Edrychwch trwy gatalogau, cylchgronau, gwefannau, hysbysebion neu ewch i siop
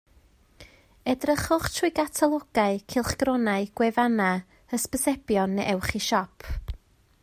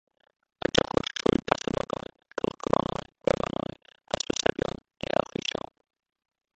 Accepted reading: first